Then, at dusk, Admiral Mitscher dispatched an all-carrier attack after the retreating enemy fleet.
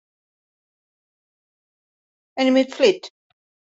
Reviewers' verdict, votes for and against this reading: rejected, 0, 2